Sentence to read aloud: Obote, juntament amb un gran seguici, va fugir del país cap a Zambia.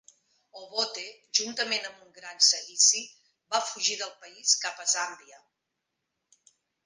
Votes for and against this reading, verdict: 2, 0, accepted